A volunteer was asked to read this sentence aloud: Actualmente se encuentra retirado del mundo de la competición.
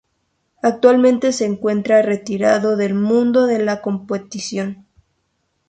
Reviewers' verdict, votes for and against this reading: rejected, 0, 2